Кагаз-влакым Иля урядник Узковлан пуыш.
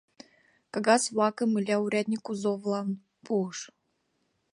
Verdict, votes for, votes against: accepted, 2, 1